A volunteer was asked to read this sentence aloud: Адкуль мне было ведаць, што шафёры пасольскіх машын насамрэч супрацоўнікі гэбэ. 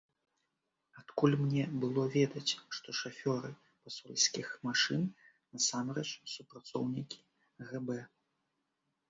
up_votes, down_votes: 1, 2